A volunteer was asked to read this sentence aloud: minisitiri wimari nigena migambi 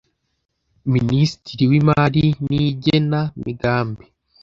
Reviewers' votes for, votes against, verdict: 2, 0, accepted